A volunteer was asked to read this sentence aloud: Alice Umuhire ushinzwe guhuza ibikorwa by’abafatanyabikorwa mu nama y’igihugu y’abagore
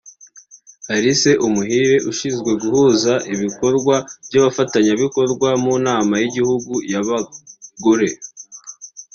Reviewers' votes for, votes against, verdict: 2, 1, accepted